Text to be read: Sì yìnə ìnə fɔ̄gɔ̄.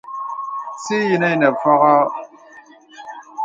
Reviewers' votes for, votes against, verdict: 2, 0, accepted